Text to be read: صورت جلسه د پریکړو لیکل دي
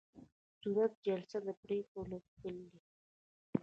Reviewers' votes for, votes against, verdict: 1, 2, rejected